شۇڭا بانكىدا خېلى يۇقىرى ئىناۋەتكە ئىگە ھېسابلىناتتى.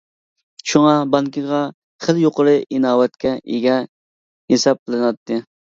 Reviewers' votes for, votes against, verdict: 1, 2, rejected